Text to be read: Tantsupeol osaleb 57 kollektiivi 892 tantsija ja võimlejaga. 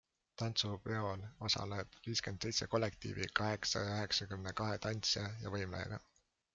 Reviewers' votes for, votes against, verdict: 0, 2, rejected